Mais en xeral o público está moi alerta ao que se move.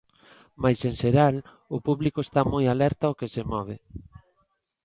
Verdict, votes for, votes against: accepted, 2, 0